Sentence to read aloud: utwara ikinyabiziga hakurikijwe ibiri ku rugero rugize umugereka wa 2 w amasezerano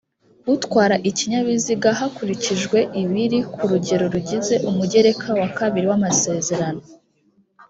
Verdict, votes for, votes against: rejected, 0, 2